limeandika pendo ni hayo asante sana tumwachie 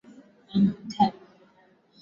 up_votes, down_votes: 3, 6